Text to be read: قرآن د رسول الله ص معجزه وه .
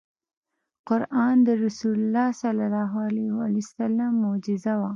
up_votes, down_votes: 2, 0